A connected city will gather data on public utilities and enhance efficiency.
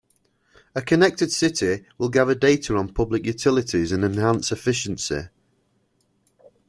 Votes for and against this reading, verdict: 2, 0, accepted